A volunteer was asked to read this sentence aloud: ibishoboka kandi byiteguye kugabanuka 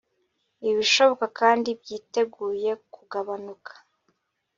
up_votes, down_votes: 2, 0